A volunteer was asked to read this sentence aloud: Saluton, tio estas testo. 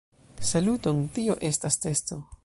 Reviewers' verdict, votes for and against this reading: rejected, 1, 2